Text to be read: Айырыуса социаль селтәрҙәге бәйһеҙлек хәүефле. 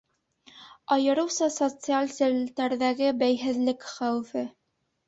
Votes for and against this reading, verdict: 1, 2, rejected